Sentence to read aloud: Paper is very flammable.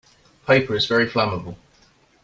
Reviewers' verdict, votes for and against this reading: accepted, 2, 0